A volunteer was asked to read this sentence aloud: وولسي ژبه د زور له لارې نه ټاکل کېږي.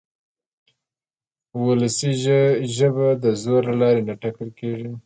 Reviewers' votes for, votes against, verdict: 2, 0, accepted